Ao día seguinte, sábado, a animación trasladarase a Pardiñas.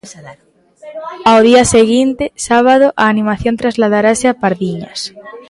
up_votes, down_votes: 0, 2